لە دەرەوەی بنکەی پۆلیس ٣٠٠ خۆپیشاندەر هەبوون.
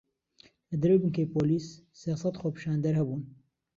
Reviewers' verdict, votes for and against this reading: rejected, 0, 2